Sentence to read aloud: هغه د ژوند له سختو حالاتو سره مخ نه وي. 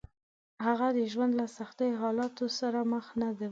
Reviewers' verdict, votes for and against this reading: rejected, 1, 2